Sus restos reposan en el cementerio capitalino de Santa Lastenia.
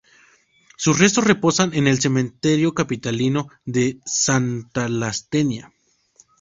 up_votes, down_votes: 0, 2